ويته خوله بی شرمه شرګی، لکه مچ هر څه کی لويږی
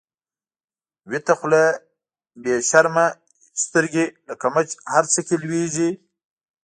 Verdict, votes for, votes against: accepted, 2, 1